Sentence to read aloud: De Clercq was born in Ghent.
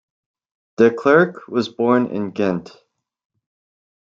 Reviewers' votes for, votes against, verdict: 2, 1, accepted